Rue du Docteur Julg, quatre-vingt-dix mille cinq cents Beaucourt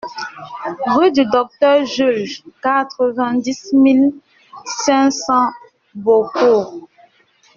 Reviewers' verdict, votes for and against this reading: accepted, 2, 1